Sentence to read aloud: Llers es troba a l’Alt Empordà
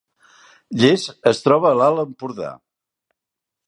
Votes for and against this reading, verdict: 2, 0, accepted